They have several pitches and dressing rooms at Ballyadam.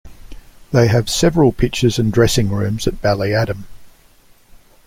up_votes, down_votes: 2, 0